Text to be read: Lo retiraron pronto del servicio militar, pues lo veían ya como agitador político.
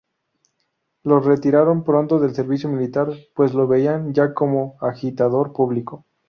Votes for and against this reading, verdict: 2, 4, rejected